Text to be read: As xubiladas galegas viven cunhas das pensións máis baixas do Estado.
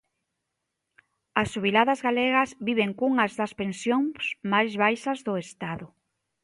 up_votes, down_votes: 2, 0